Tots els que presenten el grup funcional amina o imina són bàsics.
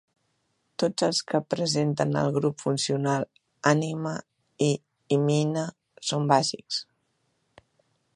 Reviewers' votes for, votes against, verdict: 2, 3, rejected